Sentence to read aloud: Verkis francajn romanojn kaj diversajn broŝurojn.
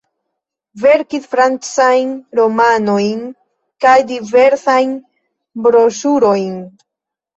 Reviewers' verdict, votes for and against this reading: accepted, 2, 1